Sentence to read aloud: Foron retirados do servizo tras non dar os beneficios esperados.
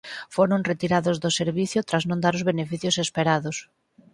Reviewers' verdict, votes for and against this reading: rejected, 0, 4